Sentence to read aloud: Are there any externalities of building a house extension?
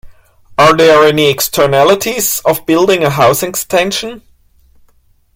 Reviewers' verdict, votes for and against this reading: accepted, 2, 0